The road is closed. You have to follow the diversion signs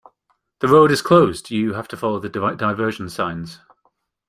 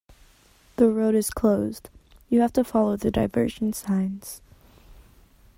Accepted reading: second